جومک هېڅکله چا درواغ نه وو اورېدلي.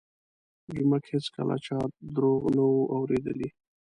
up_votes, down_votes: 0, 2